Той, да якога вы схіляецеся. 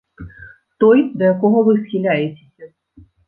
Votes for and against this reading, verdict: 1, 2, rejected